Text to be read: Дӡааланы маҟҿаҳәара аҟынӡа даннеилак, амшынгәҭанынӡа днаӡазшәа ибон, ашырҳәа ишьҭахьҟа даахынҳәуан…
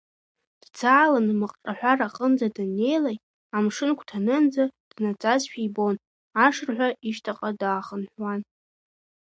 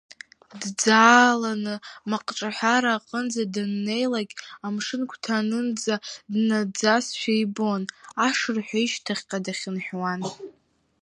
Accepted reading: first